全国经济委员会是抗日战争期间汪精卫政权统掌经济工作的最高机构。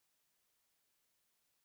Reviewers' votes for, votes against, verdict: 0, 2, rejected